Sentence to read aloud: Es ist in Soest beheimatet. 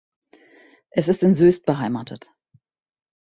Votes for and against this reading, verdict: 1, 2, rejected